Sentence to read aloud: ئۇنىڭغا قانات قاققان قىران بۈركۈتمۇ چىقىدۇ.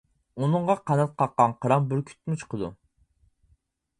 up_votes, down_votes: 0, 4